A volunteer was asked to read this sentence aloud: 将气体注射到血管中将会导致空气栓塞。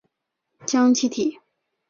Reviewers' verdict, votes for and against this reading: rejected, 0, 2